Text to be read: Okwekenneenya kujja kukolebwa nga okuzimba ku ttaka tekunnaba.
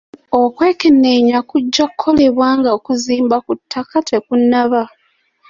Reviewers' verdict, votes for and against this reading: accepted, 2, 0